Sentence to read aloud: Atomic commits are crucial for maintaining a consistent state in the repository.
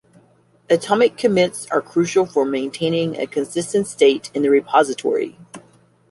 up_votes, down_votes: 2, 0